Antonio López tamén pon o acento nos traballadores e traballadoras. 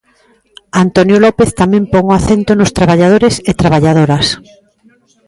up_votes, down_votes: 1, 2